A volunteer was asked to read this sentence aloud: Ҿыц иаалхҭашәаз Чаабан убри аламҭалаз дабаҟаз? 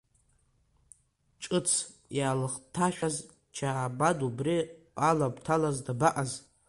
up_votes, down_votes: 2, 1